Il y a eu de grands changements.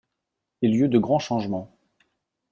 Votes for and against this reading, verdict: 1, 2, rejected